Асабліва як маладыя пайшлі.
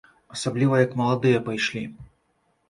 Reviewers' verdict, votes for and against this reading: accepted, 2, 0